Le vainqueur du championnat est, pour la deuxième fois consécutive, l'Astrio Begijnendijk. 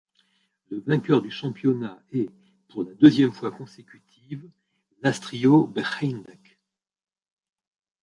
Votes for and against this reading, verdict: 1, 2, rejected